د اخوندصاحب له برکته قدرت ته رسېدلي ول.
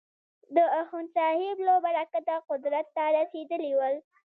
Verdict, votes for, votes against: accepted, 2, 0